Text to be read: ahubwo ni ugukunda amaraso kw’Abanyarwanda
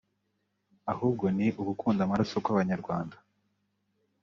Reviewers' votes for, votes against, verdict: 2, 0, accepted